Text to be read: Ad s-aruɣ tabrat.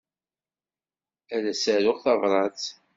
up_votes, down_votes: 2, 0